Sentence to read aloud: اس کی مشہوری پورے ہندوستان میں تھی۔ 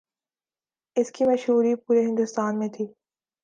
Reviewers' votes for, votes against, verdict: 4, 0, accepted